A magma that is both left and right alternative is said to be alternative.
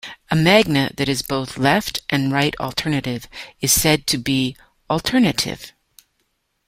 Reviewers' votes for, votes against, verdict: 1, 2, rejected